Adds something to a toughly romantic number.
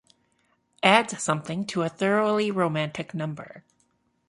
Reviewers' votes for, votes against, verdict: 0, 2, rejected